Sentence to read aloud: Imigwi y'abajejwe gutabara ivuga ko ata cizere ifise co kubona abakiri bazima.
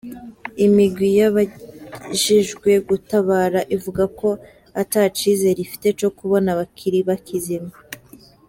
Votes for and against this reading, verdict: 0, 3, rejected